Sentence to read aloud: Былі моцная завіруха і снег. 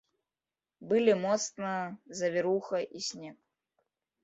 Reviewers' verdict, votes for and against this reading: rejected, 1, 2